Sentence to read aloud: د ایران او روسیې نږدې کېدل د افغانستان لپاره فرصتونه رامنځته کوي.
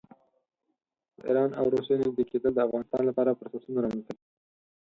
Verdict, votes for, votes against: rejected, 4, 6